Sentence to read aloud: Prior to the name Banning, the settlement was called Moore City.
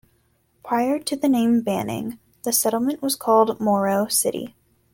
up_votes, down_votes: 0, 2